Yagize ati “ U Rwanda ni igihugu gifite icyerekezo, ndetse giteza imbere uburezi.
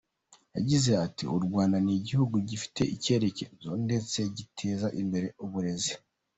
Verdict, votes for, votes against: accepted, 2, 0